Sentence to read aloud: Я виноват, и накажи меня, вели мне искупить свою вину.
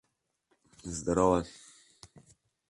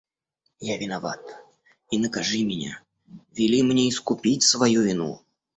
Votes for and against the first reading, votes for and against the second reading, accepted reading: 0, 2, 2, 0, second